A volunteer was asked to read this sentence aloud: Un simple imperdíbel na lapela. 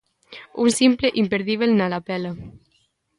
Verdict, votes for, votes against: accepted, 2, 1